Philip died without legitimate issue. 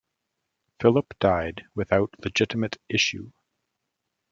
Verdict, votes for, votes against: accepted, 2, 0